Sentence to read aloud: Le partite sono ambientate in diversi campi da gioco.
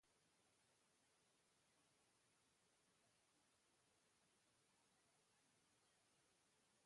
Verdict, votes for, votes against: rejected, 0, 2